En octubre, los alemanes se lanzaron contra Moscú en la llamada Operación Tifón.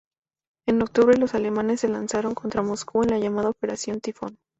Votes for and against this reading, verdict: 2, 0, accepted